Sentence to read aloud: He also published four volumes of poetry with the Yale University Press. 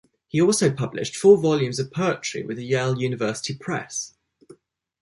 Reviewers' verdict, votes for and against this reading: accepted, 2, 0